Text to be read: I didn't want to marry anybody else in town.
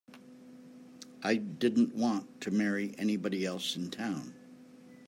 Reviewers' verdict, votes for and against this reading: accepted, 3, 0